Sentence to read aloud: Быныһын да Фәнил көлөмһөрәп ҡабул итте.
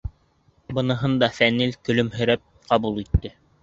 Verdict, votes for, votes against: accepted, 2, 0